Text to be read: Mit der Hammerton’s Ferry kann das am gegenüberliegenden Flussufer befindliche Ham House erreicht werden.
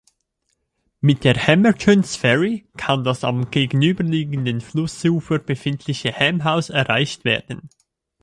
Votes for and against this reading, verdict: 2, 0, accepted